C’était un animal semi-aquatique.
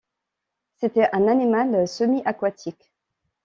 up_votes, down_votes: 2, 0